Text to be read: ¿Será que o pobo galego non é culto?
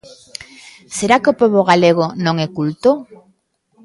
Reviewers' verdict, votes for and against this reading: accepted, 2, 0